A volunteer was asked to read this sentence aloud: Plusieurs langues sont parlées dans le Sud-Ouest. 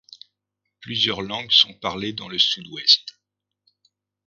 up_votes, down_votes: 2, 0